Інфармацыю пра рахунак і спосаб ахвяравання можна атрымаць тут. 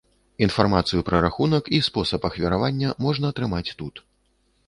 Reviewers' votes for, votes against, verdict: 2, 0, accepted